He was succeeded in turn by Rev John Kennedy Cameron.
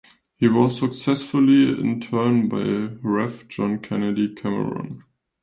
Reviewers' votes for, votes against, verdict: 1, 2, rejected